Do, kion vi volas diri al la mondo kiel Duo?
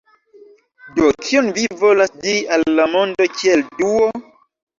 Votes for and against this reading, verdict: 0, 2, rejected